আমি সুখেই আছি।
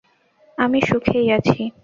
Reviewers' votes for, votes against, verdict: 2, 0, accepted